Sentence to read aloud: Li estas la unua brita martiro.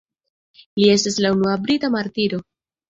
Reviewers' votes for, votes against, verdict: 2, 0, accepted